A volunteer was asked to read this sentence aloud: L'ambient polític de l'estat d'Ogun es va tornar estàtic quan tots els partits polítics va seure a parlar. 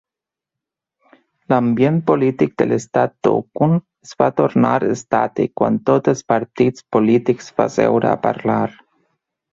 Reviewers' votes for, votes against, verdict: 2, 1, accepted